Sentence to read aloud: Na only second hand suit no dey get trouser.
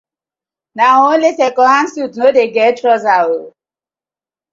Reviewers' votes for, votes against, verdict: 2, 0, accepted